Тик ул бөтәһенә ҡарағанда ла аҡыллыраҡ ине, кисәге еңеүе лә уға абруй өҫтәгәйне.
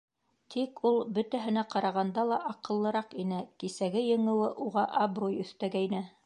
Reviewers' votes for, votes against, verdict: 0, 2, rejected